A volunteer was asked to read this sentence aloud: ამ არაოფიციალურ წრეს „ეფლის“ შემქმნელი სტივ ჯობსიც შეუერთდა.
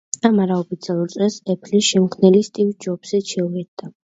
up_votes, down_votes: 2, 0